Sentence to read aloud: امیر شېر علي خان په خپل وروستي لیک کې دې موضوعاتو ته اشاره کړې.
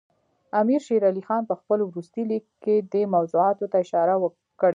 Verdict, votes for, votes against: accepted, 2, 0